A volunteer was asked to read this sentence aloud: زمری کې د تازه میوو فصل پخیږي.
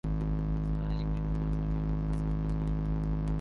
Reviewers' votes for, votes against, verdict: 0, 2, rejected